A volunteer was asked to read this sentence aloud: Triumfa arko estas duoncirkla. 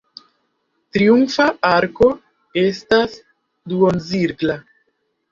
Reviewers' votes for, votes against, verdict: 1, 2, rejected